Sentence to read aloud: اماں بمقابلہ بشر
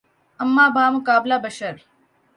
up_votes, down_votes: 7, 0